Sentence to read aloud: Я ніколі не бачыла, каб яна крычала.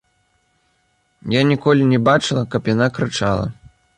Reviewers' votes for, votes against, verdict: 2, 0, accepted